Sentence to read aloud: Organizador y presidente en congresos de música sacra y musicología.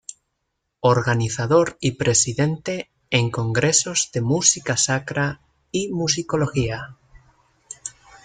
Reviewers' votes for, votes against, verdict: 2, 0, accepted